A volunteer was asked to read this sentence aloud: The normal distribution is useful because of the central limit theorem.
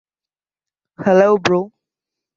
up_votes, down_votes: 0, 2